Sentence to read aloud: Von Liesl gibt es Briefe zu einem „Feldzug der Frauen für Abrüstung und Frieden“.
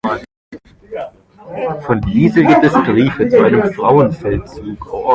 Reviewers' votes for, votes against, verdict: 0, 2, rejected